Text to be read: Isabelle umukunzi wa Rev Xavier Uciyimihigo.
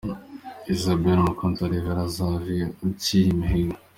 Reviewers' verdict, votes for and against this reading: accepted, 2, 0